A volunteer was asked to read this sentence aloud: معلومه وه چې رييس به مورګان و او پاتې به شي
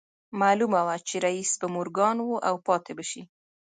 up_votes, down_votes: 2, 0